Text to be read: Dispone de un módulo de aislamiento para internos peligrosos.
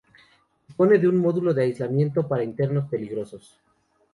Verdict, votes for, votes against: rejected, 0, 2